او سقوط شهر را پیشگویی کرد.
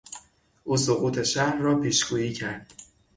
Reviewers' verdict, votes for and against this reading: accepted, 6, 0